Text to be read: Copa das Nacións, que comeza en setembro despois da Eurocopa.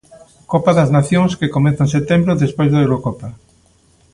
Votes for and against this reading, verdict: 2, 0, accepted